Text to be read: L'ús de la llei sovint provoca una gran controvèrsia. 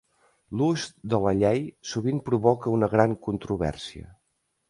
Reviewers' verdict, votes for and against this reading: accepted, 2, 0